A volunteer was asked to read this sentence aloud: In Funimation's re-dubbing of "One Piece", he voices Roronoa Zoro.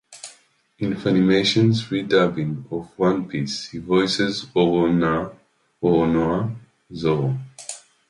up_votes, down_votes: 0, 2